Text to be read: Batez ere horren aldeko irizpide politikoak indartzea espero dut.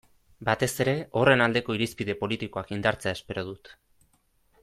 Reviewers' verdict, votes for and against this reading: accepted, 2, 0